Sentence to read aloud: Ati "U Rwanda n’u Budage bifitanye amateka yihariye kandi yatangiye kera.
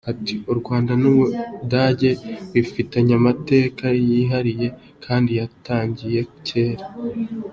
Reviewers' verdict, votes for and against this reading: accepted, 2, 0